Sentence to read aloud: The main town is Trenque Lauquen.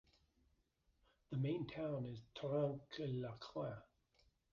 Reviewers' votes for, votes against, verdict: 1, 2, rejected